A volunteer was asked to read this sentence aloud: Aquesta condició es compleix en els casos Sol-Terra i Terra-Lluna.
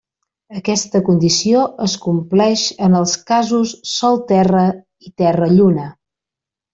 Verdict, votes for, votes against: accepted, 4, 0